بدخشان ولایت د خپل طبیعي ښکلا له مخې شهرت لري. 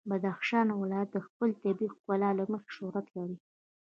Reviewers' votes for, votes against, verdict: 2, 0, accepted